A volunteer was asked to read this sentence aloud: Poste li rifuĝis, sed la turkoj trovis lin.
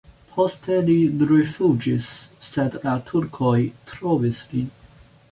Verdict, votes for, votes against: rejected, 0, 2